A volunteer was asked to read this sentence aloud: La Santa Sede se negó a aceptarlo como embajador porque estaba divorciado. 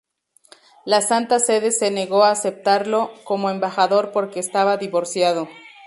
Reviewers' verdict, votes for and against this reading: accepted, 2, 0